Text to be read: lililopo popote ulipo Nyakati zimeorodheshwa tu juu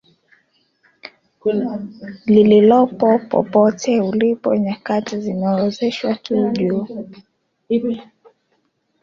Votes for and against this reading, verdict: 1, 2, rejected